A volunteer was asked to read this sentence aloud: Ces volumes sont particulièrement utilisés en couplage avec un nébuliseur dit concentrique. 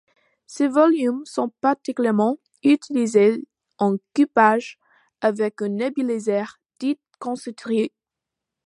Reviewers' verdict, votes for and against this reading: rejected, 0, 2